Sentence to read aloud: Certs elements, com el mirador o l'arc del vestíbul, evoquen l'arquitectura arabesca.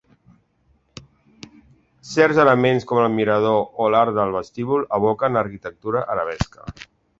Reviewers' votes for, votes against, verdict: 2, 0, accepted